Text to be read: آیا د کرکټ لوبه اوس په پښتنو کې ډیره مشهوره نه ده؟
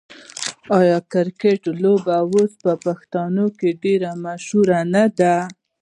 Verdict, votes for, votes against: rejected, 0, 2